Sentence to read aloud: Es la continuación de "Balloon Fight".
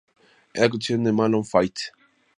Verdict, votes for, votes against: rejected, 0, 2